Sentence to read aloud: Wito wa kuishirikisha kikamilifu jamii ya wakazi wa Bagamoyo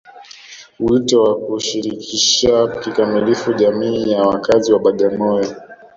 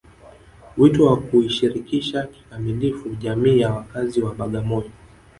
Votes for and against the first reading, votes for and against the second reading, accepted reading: 0, 2, 3, 0, second